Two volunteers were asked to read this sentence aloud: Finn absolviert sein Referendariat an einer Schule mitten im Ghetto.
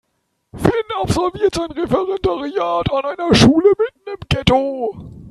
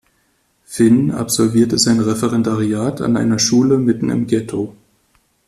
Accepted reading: second